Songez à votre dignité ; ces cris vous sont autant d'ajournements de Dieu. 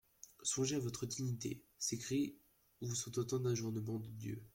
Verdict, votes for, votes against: accepted, 2, 1